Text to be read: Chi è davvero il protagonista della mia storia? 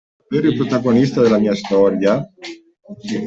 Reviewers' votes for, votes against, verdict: 0, 2, rejected